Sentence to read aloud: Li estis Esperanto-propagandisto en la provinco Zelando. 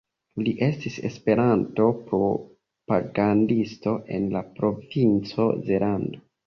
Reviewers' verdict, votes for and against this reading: rejected, 1, 2